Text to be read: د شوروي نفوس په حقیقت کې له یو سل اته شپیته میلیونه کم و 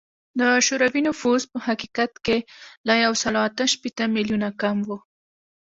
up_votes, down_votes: 2, 0